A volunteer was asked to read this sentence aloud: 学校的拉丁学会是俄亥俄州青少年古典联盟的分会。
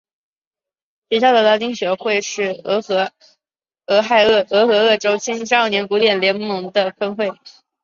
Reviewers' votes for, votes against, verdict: 3, 0, accepted